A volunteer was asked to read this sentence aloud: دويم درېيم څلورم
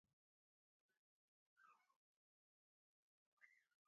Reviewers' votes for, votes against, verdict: 1, 2, rejected